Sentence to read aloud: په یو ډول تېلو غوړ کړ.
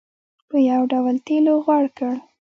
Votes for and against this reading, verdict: 0, 2, rejected